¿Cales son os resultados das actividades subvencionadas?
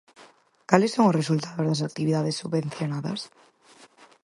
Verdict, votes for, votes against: accepted, 4, 0